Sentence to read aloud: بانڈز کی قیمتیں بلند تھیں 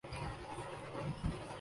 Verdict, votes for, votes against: rejected, 1, 6